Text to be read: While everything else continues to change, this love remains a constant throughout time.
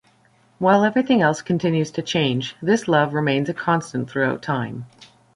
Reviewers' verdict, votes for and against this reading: accepted, 2, 0